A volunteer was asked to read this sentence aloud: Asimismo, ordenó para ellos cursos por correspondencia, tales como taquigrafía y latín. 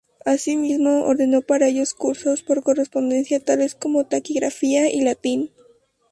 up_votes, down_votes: 0, 2